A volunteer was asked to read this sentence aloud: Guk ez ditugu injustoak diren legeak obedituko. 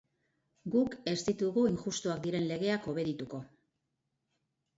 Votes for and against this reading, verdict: 2, 0, accepted